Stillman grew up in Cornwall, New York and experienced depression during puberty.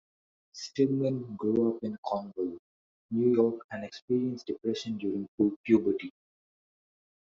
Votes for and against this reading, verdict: 0, 2, rejected